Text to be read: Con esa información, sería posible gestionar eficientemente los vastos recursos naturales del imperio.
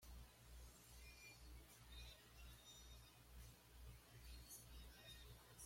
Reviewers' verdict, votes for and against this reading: rejected, 1, 2